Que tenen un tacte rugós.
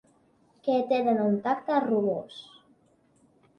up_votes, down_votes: 4, 0